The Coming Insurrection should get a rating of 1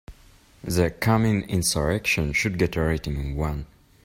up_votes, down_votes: 0, 2